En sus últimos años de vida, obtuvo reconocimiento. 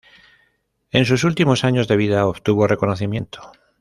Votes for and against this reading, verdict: 0, 2, rejected